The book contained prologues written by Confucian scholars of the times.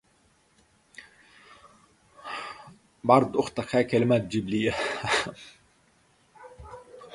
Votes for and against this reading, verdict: 0, 4, rejected